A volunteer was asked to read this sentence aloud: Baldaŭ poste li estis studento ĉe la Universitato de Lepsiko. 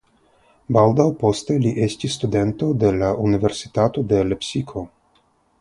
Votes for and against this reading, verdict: 0, 3, rejected